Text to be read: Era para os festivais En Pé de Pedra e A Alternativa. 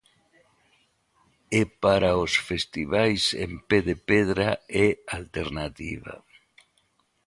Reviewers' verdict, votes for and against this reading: rejected, 0, 2